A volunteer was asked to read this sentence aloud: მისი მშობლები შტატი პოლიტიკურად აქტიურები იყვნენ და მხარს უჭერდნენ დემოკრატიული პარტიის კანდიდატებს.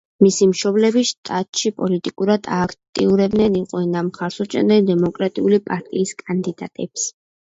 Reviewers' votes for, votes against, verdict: 0, 2, rejected